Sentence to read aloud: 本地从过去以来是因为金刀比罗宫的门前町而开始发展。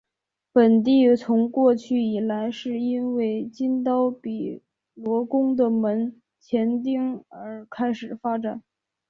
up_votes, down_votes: 2, 0